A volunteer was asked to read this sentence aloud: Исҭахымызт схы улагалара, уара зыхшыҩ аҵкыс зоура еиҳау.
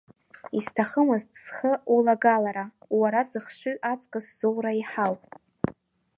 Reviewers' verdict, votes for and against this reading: accepted, 2, 0